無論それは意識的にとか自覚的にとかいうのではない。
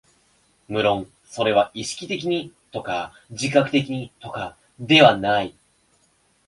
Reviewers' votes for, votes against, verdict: 2, 1, accepted